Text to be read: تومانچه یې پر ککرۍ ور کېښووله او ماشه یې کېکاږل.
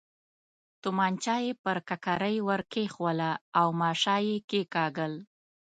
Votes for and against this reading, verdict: 2, 0, accepted